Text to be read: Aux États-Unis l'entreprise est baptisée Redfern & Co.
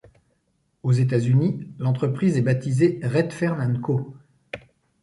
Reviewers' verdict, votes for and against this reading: accepted, 2, 0